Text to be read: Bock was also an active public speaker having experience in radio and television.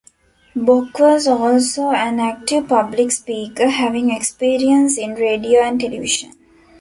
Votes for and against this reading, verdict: 1, 2, rejected